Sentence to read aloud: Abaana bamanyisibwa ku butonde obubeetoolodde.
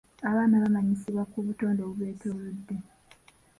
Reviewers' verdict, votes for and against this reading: accepted, 2, 0